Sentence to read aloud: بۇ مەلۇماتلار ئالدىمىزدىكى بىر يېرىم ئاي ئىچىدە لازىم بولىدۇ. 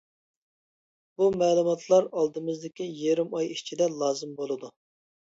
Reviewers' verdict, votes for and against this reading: rejected, 0, 2